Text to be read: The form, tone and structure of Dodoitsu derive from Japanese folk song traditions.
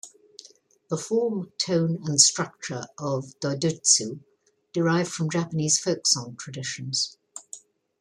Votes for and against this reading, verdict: 2, 0, accepted